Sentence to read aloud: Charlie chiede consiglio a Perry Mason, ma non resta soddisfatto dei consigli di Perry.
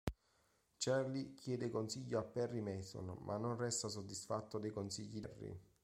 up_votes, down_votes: 0, 2